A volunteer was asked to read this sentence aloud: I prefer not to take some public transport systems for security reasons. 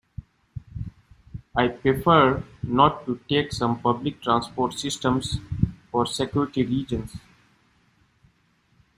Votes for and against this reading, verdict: 0, 2, rejected